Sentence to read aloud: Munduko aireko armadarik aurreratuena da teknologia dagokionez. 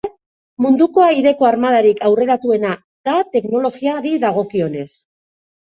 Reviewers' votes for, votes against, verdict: 0, 2, rejected